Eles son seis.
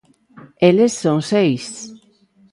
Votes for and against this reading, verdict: 2, 0, accepted